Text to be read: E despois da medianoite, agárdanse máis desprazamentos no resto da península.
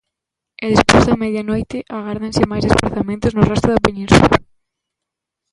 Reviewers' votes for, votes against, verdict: 0, 2, rejected